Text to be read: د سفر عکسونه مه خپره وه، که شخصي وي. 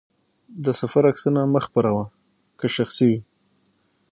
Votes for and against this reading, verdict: 3, 6, rejected